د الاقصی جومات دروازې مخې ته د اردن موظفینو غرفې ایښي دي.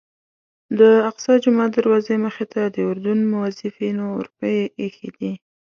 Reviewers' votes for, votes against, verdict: 1, 2, rejected